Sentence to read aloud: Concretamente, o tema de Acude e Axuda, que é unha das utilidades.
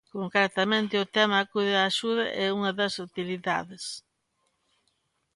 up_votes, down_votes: 0, 2